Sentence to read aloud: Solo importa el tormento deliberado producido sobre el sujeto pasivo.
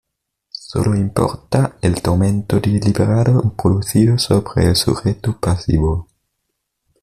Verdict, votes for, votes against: rejected, 1, 2